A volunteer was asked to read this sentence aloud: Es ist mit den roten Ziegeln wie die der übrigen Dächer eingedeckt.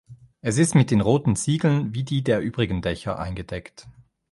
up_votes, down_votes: 2, 0